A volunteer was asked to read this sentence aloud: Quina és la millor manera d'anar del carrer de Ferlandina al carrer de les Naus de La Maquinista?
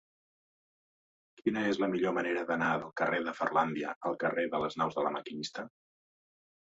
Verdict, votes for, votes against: rejected, 1, 2